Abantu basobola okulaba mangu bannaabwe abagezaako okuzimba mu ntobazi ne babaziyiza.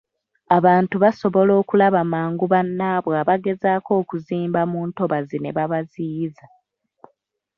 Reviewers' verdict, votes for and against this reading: accepted, 2, 1